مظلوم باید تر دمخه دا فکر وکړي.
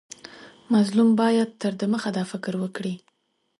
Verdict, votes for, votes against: accepted, 2, 0